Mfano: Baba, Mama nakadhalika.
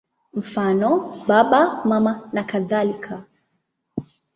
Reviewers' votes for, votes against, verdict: 2, 0, accepted